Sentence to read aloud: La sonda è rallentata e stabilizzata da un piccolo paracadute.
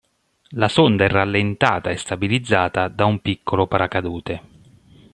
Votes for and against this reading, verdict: 1, 2, rejected